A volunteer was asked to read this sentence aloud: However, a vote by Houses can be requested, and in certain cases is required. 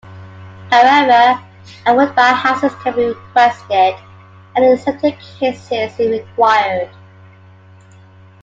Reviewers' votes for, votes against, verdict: 1, 2, rejected